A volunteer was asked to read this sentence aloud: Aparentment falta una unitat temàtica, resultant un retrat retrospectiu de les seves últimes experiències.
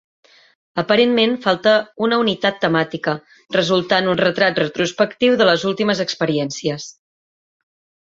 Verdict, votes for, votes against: rejected, 0, 3